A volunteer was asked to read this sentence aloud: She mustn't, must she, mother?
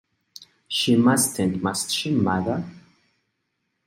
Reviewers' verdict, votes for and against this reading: accepted, 2, 0